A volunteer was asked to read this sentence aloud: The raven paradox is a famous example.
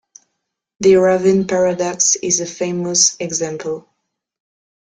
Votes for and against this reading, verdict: 2, 0, accepted